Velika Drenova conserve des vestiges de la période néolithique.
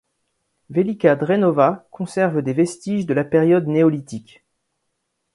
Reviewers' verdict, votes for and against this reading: accepted, 2, 0